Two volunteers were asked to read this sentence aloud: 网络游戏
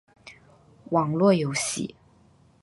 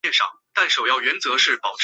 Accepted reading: first